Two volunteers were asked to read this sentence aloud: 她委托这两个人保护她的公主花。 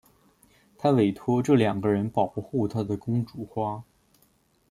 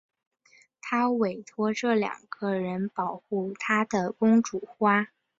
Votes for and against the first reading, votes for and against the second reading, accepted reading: 1, 2, 3, 0, second